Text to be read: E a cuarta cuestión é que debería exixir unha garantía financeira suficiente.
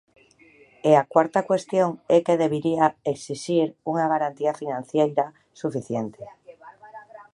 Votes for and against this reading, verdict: 2, 0, accepted